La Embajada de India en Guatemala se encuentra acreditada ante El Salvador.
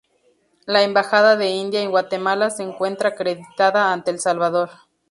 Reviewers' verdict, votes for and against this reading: accepted, 2, 0